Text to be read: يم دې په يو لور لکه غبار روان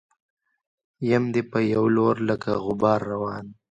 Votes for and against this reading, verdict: 1, 2, rejected